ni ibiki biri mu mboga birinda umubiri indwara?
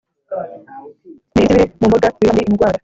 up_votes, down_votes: 0, 2